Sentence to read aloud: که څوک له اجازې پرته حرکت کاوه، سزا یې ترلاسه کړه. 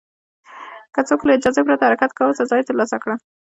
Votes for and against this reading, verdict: 2, 0, accepted